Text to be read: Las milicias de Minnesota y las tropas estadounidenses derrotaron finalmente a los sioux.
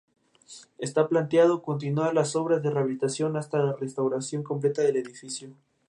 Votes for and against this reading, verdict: 2, 2, rejected